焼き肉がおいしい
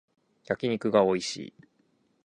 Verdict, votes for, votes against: rejected, 2, 2